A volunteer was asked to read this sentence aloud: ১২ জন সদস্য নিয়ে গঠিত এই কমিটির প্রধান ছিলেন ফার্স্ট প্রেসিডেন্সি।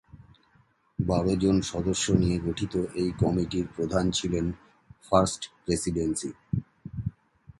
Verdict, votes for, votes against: rejected, 0, 2